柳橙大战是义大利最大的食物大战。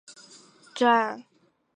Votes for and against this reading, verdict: 1, 3, rejected